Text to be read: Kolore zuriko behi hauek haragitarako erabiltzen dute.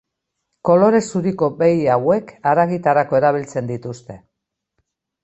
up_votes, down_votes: 0, 2